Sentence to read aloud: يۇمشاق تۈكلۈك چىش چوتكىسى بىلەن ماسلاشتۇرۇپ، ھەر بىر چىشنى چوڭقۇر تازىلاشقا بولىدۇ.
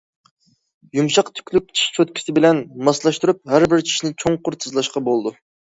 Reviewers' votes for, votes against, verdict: 0, 2, rejected